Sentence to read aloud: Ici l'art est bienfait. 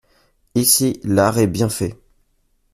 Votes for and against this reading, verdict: 2, 0, accepted